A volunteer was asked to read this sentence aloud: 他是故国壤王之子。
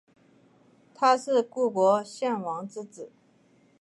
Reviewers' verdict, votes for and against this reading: accepted, 3, 1